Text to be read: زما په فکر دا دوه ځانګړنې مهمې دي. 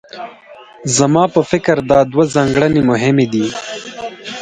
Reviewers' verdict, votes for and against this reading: accepted, 4, 2